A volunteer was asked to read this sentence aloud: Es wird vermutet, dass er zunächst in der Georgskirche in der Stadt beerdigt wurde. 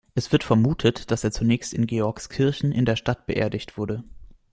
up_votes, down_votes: 1, 2